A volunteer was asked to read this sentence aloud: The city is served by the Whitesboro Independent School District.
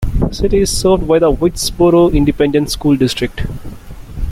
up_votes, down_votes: 3, 1